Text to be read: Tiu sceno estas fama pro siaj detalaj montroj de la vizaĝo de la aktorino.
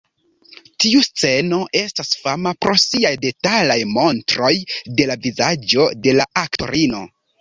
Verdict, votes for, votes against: accepted, 2, 0